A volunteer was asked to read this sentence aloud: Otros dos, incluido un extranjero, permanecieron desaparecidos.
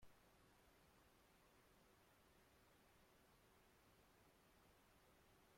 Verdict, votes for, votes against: rejected, 0, 2